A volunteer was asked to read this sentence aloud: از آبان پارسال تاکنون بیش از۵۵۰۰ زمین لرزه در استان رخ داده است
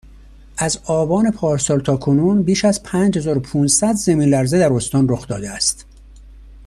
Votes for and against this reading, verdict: 0, 2, rejected